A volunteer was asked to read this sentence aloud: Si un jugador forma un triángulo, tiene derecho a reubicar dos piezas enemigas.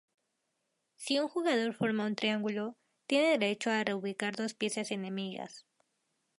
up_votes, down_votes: 4, 0